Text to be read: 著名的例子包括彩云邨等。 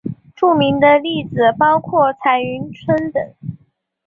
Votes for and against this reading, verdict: 3, 0, accepted